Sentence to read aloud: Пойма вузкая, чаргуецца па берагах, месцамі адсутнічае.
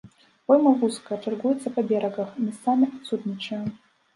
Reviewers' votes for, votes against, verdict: 0, 2, rejected